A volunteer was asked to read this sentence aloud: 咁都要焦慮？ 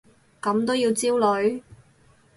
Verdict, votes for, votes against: rejected, 2, 2